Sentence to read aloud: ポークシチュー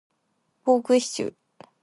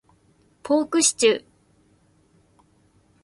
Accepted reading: first